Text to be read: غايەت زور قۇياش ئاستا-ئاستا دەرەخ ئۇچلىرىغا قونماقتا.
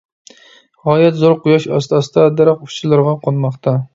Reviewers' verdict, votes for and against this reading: accepted, 2, 0